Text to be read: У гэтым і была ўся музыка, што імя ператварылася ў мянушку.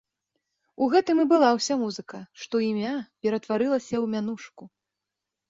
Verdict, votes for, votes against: accepted, 2, 0